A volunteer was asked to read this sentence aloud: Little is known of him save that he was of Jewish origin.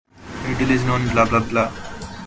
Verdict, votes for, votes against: rejected, 0, 2